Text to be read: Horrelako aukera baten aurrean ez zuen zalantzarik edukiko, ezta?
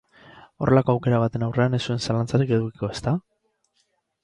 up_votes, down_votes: 4, 0